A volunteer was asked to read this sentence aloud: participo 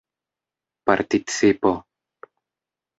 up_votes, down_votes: 1, 2